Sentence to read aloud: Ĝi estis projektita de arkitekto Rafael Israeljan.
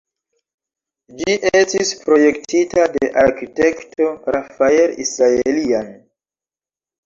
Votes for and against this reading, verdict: 1, 2, rejected